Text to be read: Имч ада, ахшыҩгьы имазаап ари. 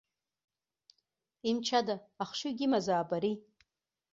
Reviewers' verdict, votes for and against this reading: accepted, 2, 1